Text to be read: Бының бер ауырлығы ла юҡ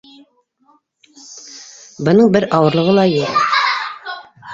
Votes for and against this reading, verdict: 1, 2, rejected